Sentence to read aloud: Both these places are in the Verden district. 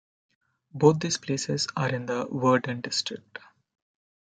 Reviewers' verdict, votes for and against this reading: accepted, 2, 0